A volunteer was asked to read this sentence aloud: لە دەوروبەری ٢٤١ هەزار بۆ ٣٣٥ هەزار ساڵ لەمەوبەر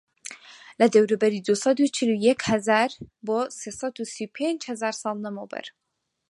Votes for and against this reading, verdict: 0, 2, rejected